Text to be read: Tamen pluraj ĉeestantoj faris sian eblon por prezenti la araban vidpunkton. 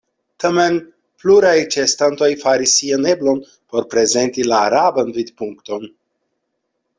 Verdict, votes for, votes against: accepted, 2, 0